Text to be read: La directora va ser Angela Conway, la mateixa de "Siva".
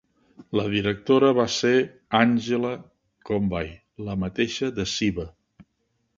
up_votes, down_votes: 0, 2